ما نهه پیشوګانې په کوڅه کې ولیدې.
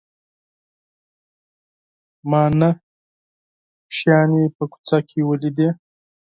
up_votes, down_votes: 0, 4